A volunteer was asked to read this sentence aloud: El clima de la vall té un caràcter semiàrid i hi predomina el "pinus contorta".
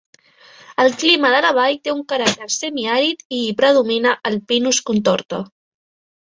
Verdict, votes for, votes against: accepted, 3, 0